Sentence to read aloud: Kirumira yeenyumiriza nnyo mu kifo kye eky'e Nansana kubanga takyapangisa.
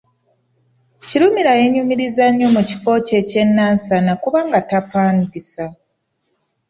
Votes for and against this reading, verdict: 0, 2, rejected